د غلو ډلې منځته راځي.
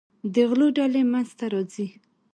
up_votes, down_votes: 2, 0